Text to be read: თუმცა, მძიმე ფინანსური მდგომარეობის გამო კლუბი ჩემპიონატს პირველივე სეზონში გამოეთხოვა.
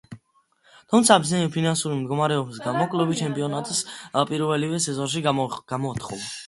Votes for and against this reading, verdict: 1, 2, rejected